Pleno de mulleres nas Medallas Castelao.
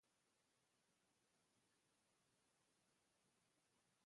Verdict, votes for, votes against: rejected, 0, 2